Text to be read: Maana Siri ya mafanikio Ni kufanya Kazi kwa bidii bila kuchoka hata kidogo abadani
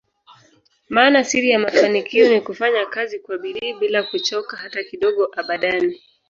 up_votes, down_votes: 0, 2